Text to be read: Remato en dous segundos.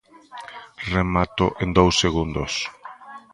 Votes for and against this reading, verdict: 0, 2, rejected